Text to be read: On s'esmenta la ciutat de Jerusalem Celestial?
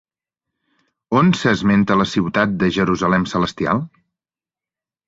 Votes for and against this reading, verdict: 3, 0, accepted